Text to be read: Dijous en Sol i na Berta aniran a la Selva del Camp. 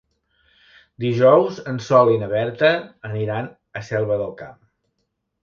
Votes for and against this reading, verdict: 0, 2, rejected